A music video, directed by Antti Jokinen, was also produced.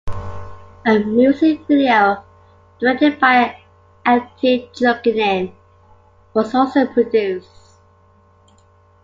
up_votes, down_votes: 1, 2